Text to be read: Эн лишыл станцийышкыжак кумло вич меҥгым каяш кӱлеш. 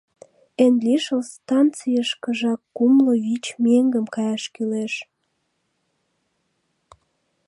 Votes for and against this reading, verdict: 2, 0, accepted